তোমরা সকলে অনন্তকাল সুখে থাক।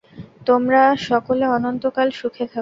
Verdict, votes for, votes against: accepted, 4, 0